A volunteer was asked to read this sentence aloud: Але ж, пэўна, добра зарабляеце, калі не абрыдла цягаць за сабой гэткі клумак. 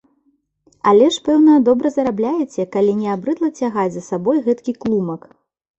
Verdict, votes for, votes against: accepted, 2, 0